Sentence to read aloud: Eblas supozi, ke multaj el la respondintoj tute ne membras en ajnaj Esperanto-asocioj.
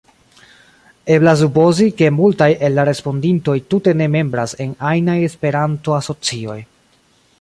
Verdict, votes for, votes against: rejected, 1, 2